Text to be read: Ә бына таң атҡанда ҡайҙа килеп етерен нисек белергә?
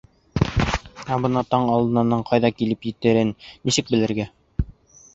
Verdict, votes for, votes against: rejected, 1, 2